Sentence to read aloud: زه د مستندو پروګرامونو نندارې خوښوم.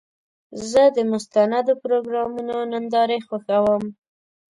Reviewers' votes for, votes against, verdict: 2, 0, accepted